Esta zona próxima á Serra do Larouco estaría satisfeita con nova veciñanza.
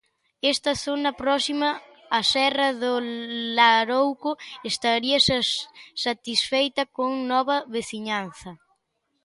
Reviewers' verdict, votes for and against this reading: rejected, 0, 3